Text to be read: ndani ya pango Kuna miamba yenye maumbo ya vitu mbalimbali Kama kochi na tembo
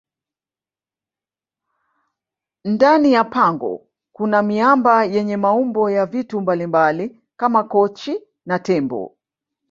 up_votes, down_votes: 0, 2